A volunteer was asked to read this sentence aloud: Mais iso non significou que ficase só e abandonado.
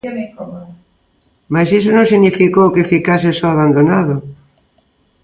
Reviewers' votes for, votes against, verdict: 0, 2, rejected